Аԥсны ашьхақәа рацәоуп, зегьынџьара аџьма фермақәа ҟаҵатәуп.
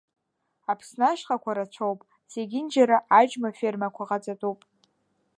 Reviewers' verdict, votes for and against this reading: accepted, 2, 0